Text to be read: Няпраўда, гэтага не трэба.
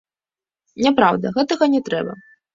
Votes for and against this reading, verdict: 2, 0, accepted